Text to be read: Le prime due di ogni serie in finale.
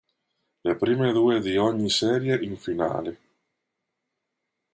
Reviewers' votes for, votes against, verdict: 2, 0, accepted